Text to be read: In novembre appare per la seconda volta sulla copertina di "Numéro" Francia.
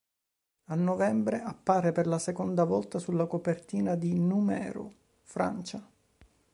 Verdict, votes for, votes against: rejected, 1, 2